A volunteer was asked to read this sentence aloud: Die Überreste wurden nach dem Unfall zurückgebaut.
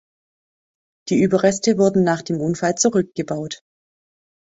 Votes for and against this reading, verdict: 2, 0, accepted